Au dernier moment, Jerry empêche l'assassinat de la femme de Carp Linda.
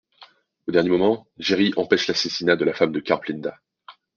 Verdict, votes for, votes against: accepted, 2, 0